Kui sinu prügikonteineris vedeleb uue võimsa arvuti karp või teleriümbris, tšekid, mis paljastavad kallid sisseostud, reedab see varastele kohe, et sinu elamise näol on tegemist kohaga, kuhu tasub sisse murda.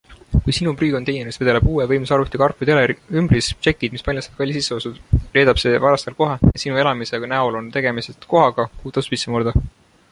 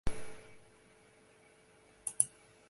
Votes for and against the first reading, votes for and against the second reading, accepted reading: 2, 0, 0, 2, first